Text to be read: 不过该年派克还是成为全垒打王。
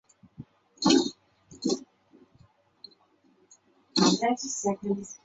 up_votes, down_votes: 1, 2